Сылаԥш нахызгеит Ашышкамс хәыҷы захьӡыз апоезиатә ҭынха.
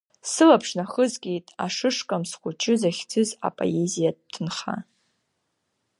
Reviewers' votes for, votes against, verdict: 2, 0, accepted